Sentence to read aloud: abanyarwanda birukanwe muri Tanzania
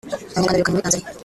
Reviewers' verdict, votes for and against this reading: rejected, 0, 2